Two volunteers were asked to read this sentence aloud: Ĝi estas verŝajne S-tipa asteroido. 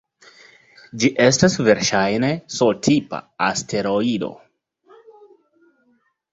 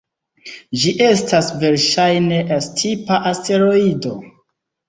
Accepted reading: first